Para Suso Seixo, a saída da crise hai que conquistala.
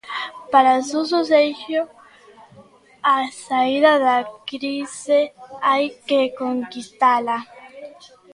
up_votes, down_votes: 1, 2